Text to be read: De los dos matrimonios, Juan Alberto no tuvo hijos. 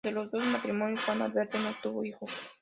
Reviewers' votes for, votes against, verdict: 2, 0, accepted